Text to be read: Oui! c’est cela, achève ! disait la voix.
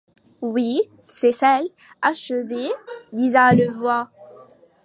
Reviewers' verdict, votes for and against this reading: rejected, 1, 3